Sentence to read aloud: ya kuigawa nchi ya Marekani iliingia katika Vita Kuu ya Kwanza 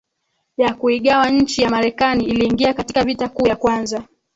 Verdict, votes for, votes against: rejected, 2, 3